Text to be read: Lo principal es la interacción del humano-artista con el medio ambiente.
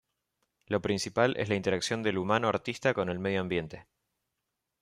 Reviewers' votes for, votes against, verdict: 1, 2, rejected